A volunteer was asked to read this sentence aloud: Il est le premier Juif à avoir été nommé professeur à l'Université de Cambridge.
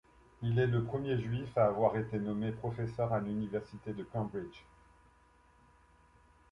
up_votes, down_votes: 2, 0